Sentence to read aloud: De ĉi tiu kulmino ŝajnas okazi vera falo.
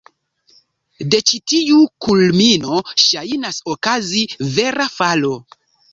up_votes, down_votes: 2, 0